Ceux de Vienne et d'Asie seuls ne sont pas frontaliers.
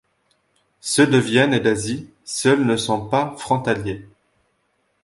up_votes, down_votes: 2, 0